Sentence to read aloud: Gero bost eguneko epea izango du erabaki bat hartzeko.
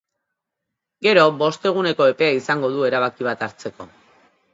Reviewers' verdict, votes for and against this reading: accepted, 2, 0